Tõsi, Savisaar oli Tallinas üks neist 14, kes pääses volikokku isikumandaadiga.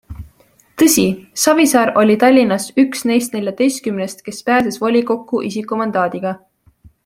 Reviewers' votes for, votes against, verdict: 0, 2, rejected